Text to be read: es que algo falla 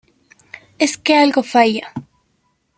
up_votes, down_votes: 0, 2